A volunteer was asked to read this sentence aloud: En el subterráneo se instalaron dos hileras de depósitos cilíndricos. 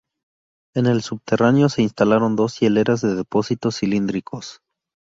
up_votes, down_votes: 2, 0